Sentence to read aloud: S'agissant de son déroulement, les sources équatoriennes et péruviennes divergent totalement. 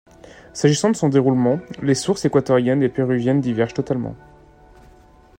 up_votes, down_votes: 2, 0